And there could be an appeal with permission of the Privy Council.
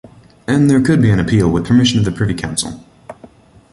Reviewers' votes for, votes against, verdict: 2, 0, accepted